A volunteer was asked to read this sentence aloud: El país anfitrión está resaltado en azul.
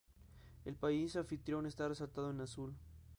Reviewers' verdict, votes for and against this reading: rejected, 0, 2